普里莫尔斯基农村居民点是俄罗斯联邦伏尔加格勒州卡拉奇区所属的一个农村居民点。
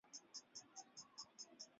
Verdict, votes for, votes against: rejected, 2, 4